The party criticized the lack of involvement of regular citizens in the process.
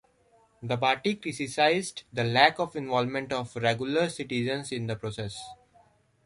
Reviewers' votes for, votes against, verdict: 2, 0, accepted